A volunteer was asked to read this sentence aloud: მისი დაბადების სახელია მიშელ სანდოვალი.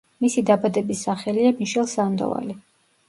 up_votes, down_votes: 2, 0